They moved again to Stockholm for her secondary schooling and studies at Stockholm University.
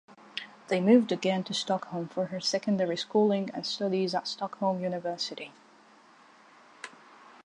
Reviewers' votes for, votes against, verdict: 2, 0, accepted